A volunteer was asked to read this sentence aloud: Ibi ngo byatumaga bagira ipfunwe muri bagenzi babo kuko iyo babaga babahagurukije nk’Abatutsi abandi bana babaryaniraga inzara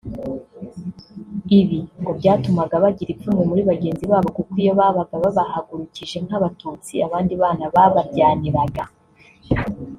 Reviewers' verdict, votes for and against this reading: rejected, 1, 2